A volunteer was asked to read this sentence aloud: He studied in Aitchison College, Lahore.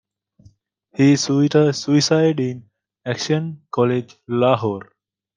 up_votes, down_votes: 0, 2